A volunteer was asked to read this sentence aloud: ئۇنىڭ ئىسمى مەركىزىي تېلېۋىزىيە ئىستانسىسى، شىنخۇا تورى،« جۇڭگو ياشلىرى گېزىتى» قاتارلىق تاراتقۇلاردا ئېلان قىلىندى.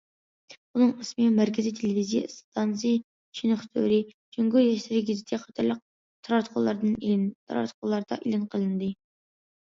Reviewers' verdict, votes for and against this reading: rejected, 0, 2